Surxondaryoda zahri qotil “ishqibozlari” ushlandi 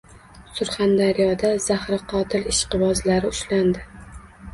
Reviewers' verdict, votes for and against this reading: accepted, 2, 0